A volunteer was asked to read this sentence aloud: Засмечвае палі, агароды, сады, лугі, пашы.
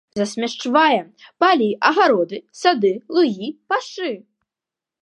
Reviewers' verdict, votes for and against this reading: rejected, 1, 2